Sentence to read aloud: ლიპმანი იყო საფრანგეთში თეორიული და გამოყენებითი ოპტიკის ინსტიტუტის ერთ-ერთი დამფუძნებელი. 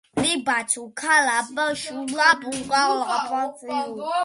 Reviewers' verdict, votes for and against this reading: rejected, 0, 2